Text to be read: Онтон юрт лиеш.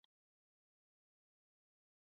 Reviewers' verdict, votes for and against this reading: rejected, 0, 2